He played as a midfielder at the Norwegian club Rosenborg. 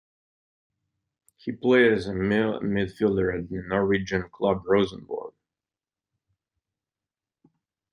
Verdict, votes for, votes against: rejected, 1, 2